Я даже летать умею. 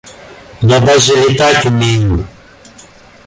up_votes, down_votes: 1, 2